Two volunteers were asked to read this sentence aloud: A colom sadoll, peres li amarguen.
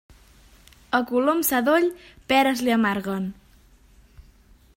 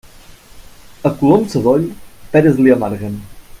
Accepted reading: first